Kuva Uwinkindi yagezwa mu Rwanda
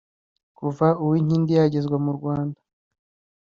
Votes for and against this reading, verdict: 2, 0, accepted